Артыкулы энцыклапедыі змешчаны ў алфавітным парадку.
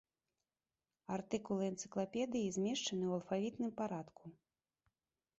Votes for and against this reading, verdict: 2, 0, accepted